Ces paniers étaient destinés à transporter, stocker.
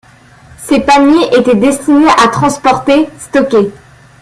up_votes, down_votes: 1, 2